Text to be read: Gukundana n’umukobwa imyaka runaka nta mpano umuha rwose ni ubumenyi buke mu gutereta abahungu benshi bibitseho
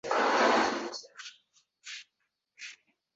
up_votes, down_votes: 0, 2